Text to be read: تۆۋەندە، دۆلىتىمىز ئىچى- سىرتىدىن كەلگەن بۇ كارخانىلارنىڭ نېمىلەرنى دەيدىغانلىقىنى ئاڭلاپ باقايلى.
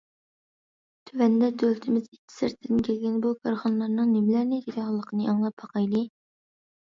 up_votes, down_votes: 2, 0